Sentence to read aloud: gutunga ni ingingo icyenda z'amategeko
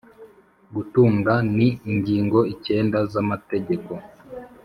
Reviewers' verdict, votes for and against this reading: accepted, 3, 0